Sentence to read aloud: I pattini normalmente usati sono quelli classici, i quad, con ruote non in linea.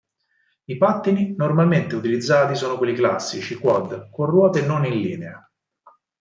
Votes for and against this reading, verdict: 0, 4, rejected